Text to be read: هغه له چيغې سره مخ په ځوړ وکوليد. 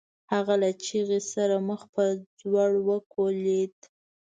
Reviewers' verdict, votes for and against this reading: accepted, 2, 0